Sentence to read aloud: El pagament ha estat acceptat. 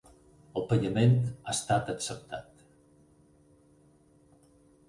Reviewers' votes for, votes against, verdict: 8, 0, accepted